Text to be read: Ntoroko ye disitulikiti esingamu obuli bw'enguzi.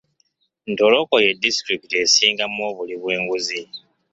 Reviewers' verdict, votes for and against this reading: accepted, 2, 0